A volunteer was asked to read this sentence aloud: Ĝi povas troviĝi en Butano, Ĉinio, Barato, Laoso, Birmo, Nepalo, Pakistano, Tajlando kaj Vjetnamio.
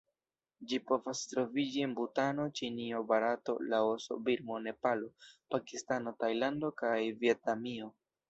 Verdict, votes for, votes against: rejected, 1, 2